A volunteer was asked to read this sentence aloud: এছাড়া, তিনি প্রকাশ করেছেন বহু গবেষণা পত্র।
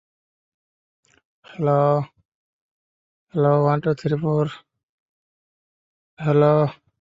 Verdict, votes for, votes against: rejected, 0, 2